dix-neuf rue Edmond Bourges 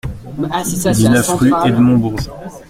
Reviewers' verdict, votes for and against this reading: rejected, 1, 2